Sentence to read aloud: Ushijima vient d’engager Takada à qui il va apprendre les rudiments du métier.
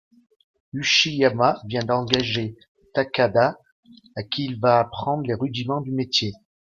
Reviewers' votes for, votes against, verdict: 1, 2, rejected